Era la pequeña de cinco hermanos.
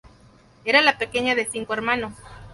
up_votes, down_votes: 2, 0